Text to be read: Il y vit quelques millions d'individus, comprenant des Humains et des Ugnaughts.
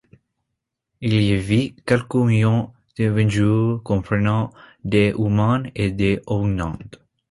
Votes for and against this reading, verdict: 2, 0, accepted